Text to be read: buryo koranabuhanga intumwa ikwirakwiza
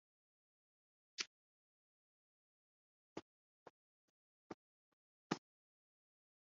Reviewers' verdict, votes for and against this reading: rejected, 0, 2